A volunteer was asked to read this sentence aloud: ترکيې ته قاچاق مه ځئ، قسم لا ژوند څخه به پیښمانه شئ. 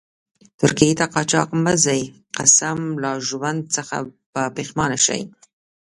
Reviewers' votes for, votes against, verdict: 1, 2, rejected